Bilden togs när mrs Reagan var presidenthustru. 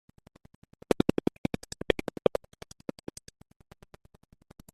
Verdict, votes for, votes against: rejected, 0, 2